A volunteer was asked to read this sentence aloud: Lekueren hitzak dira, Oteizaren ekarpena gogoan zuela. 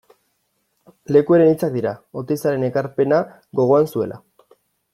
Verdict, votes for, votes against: accepted, 2, 0